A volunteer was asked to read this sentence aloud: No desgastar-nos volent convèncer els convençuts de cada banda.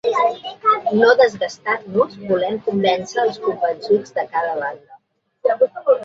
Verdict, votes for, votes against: rejected, 0, 2